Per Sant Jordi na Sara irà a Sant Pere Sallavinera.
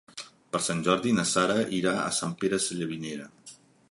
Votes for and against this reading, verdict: 3, 1, accepted